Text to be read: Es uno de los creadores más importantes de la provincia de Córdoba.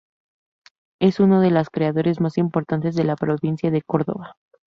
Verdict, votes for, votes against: accepted, 4, 0